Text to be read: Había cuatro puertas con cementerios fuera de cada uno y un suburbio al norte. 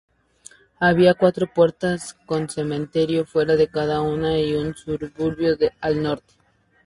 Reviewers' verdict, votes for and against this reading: rejected, 0, 6